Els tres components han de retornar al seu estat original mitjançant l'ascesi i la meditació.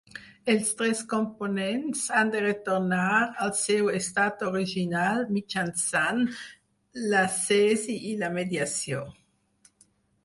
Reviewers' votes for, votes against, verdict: 2, 4, rejected